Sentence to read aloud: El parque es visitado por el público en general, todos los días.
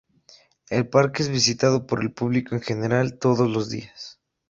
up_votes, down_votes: 2, 0